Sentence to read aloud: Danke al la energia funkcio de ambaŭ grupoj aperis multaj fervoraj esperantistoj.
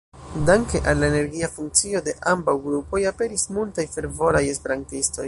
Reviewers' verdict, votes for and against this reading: accepted, 2, 0